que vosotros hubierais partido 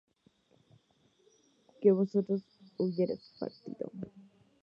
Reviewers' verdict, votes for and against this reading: rejected, 0, 2